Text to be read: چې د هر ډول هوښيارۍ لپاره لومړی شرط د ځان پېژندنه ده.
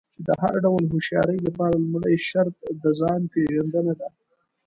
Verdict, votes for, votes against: rejected, 1, 2